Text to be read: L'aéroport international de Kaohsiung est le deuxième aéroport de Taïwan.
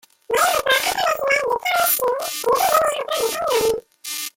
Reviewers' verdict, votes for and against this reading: rejected, 0, 2